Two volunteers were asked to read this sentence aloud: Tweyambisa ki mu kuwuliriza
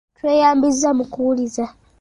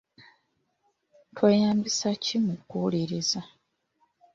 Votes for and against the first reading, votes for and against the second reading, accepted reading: 0, 2, 2, 0, second